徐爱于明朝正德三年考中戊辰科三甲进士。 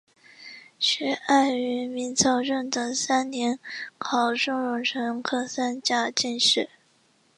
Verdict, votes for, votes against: rejected, 0, 2